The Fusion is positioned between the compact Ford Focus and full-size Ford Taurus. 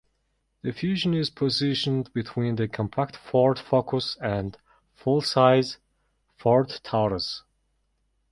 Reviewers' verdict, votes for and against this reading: accepted, 2, 0